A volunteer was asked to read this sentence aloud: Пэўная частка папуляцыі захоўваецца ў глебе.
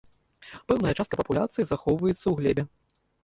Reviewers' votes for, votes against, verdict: 1, 2, rejected